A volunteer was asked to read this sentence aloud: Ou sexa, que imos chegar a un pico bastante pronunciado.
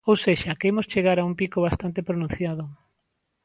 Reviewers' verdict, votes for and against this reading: accepted, 2, 0